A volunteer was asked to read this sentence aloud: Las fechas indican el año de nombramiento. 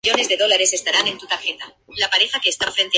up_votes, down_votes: 0, 2